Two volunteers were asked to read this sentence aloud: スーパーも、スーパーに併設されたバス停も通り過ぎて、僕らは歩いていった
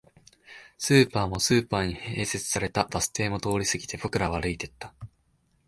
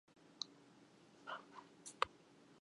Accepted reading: first